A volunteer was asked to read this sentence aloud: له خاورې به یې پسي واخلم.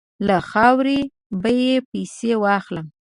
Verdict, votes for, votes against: accepted, 3, 0